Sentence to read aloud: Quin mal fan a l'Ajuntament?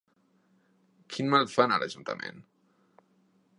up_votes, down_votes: 3, 0